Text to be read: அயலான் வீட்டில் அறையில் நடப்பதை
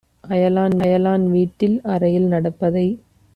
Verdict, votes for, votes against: rejected, 0, 2